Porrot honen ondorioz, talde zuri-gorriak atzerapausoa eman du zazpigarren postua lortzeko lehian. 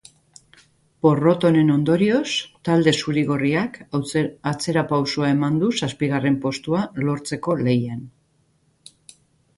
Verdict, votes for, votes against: rejected, 0, 2